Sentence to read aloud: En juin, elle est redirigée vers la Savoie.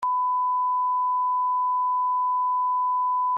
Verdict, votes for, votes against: rejected, 0, 2